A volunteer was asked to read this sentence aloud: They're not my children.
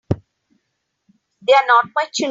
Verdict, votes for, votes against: rejected, 0, 3